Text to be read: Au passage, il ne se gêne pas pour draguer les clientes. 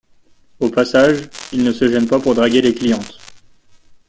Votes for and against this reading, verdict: 2, 0, accepted